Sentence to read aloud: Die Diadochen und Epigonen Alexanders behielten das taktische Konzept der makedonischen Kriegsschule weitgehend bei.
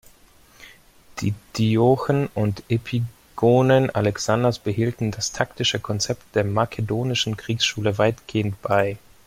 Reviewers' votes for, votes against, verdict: 1, 2, rejected